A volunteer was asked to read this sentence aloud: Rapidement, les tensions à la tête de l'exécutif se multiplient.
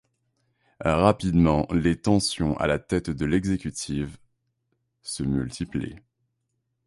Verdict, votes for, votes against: rejected, 1, 2